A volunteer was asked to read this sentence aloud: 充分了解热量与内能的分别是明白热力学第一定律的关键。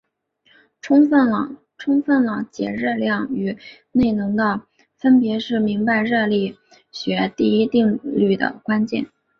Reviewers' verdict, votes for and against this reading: rejected, 0, 2